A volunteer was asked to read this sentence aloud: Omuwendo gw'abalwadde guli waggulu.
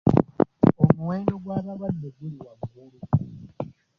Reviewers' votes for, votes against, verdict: 2, 1, accepted